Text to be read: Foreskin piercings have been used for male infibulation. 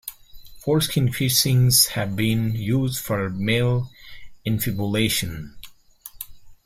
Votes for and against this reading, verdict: 3, 2, accepted